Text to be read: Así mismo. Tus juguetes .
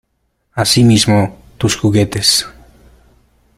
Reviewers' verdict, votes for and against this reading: accepted, 2, 0